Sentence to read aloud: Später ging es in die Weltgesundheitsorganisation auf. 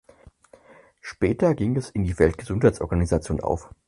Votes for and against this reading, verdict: 4, 0, accepted